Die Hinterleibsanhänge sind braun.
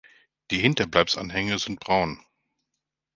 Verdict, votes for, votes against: accepted, 3, 2